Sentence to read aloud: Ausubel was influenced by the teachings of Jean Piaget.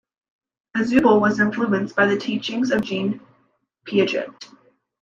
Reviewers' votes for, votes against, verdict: 2, 0, accepted